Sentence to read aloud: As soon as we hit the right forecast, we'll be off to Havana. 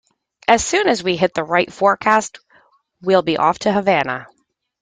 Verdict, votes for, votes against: accepted, 3, 0